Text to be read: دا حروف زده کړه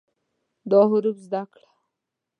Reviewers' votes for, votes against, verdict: 1, 2, rejected